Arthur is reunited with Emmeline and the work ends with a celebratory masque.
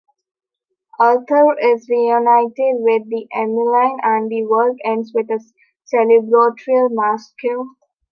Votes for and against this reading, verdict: 0, 3, rejected